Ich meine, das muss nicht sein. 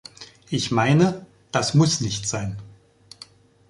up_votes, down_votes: 2, 0